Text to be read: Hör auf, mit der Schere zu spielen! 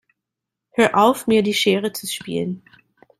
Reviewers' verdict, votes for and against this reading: rejected, 0, 2